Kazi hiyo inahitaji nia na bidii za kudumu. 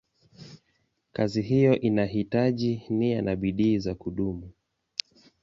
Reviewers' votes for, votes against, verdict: 2, 0, accepted